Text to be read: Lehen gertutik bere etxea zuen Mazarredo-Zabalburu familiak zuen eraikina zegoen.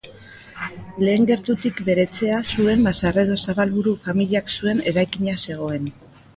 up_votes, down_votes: 2, 0